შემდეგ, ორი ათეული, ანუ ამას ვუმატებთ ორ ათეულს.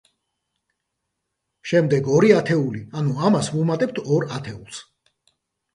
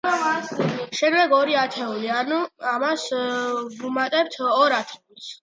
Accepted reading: first